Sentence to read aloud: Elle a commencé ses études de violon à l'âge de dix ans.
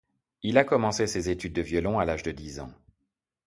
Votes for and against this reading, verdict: 0, 2, rejected